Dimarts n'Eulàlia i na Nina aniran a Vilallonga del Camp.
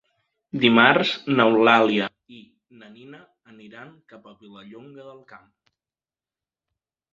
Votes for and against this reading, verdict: 1, 2, rejected